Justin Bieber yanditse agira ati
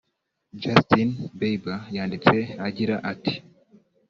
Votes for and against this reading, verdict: 0, 2, rejected